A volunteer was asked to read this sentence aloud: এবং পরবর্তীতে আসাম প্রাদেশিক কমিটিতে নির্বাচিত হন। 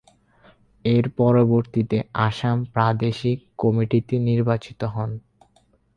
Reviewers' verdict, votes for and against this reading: rejected, 0, 4